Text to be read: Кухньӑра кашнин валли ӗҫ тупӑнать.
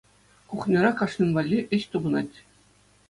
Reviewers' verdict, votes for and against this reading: accepted, 2, 0